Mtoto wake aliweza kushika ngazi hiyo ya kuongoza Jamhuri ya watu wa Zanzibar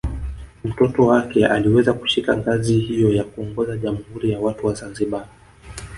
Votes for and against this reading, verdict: 2, 3, rejected